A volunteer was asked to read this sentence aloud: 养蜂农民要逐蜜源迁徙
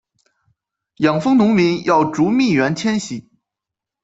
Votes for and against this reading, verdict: 2, 0, accepted